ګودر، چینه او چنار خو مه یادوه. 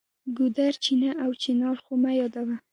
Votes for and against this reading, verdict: 1, 2, rejected